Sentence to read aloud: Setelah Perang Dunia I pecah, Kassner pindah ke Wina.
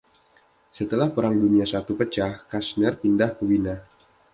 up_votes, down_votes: 2, 0